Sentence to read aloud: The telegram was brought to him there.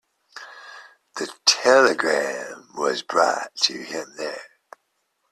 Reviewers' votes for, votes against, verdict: 3, 0, accepted